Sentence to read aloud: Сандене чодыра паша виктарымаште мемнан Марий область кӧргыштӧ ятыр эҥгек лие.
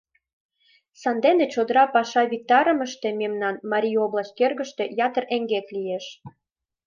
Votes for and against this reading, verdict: 1, 2, rejected